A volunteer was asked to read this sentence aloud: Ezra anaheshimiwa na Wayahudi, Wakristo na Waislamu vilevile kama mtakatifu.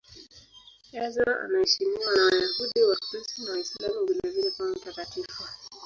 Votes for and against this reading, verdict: 0, 2, rejected